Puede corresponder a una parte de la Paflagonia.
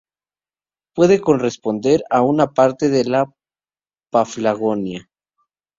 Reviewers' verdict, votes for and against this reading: rejected, 2, 2